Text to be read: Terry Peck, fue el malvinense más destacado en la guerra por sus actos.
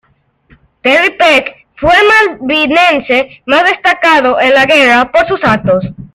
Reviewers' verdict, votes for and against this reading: accepted, 2, 0